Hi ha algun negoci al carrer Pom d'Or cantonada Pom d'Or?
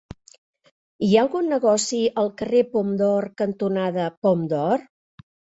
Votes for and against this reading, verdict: 3, 0, accepted